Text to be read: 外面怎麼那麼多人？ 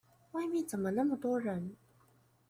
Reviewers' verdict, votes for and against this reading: accepted, 3, 0